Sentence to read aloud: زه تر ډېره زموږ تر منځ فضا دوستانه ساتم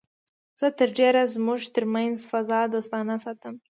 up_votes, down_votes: 2, 0